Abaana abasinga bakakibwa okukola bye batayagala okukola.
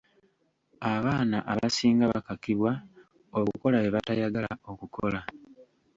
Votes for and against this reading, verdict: 2, 1, accepted